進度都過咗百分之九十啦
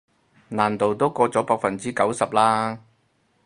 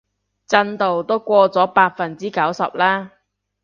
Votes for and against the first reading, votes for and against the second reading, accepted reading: 2, 2, 2, 0, second